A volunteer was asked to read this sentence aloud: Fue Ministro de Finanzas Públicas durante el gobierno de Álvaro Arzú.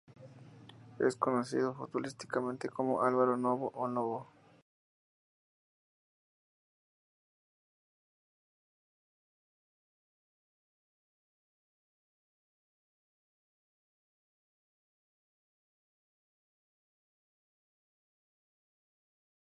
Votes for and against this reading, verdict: 0, 4, rejected